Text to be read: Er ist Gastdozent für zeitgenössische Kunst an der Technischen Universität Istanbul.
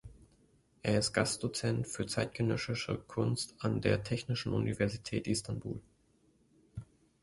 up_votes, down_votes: 2, 1